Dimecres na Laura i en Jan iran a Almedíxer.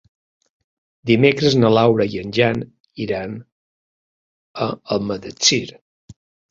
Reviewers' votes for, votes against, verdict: 0, 2, rejected